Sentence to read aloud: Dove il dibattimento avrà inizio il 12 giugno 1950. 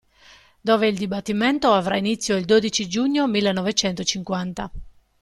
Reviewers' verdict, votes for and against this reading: rejected, 0, 2